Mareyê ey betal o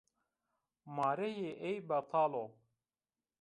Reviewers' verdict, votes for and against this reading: accepted, 2, 0